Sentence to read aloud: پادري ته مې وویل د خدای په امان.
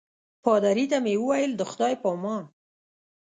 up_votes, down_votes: 2, 0